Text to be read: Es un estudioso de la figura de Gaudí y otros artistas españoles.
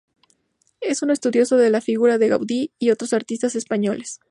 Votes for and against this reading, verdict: 2, 0, accepted